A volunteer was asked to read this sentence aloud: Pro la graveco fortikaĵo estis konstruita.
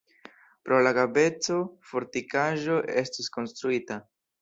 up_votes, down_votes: 2, 0